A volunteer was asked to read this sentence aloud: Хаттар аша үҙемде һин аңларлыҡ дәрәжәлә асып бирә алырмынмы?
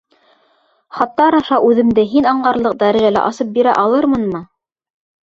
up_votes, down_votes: 2, 0